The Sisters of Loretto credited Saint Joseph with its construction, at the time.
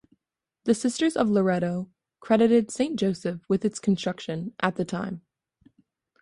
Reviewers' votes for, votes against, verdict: 2, 0, accepted